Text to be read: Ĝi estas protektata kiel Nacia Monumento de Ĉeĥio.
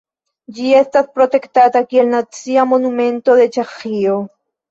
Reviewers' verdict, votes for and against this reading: rejected, 1, 2